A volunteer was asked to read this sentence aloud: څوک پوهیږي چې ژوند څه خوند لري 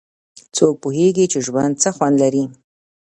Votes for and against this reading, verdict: 0, 2, rejected